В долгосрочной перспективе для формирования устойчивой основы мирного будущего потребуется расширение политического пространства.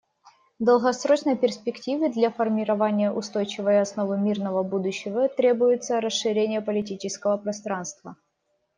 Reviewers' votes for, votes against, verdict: 1, 2, rejected